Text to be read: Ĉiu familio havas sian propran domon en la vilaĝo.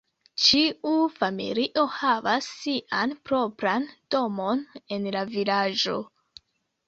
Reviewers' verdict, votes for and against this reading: rejected, 1, 2